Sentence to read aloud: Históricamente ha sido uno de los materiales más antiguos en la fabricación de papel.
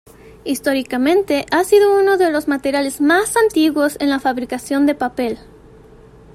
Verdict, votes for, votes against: accepted, 2, 0